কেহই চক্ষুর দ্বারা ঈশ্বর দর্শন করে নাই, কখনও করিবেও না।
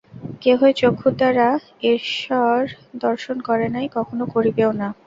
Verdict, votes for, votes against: accepted, 2, 0